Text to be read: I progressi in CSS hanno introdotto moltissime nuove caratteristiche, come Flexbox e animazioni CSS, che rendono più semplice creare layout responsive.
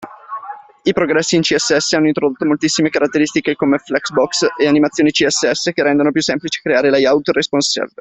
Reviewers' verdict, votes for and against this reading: rejected, 0, 2